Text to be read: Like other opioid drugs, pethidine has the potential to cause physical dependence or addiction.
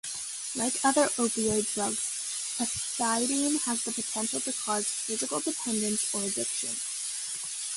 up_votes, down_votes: 2, 1